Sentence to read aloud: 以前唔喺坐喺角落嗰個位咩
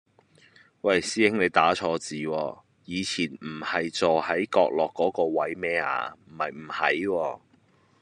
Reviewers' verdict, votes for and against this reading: rejected, 1, 2